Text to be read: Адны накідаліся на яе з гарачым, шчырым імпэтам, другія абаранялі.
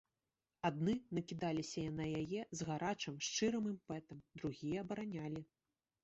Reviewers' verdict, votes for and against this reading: rejected, 1, 2